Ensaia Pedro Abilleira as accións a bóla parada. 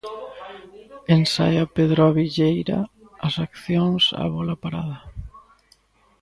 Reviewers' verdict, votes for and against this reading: accepted, 2, 0